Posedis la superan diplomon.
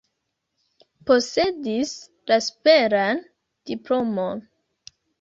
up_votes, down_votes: 2, 0